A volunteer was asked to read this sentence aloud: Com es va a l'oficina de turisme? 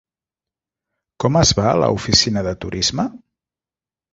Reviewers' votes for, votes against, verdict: 1, 2, rejected